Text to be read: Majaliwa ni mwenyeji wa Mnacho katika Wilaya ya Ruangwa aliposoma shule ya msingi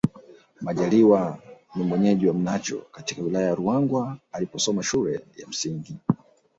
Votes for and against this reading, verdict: 2, 0, accepted